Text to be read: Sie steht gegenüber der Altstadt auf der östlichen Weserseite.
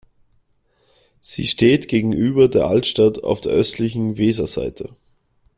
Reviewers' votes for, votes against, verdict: 2, 0, accepted